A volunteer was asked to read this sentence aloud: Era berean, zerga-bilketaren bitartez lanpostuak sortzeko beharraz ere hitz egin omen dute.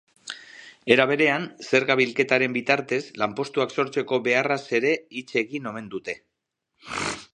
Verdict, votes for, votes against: accepted, 2, 0